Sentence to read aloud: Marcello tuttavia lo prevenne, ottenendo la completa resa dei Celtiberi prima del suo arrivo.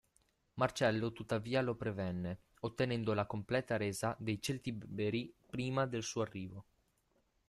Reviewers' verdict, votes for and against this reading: rejected, 0, 2